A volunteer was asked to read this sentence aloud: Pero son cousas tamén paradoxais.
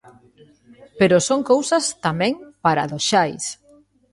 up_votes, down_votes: 0, 3